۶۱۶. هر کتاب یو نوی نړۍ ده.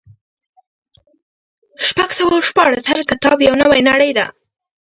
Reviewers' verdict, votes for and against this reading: rejected, 0, 2